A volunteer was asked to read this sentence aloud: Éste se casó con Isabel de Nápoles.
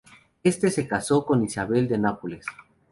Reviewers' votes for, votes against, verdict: 0, 2, rejected